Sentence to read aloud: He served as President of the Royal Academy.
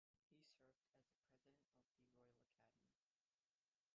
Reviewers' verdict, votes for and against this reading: rejected, 0, 2